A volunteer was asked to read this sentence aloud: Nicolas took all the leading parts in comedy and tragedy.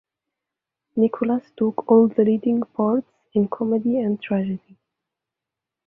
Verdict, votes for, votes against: accepted, 2, 0